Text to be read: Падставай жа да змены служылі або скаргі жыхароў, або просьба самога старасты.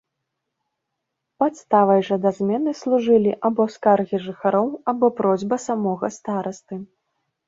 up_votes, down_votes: 2, 0